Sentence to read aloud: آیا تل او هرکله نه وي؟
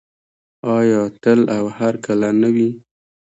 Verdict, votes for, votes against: accepted, 2, 0